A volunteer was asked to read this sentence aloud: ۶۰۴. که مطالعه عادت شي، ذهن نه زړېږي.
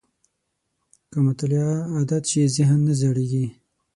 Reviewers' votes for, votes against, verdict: 0, 2, rejected